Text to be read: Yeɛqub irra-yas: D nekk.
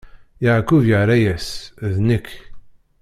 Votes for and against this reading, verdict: 1, 2, rejected